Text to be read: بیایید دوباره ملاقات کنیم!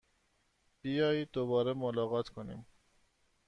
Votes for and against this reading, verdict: 2, 0, accepted